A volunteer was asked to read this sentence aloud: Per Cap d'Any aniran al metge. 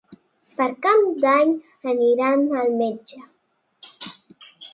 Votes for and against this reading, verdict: 1, 2, rejected